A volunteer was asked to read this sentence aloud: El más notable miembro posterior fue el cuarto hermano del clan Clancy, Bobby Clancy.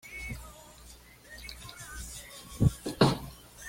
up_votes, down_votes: 0, 2